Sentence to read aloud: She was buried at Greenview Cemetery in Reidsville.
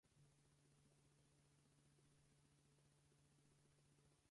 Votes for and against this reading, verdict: 0, 2, rejected